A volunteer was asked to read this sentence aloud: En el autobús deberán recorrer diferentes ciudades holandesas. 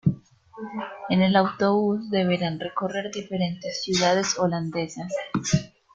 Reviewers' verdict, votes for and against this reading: accepted, 2, 0